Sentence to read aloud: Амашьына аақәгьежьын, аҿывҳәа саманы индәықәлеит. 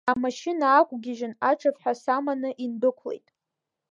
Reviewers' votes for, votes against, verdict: 3, 0, accepted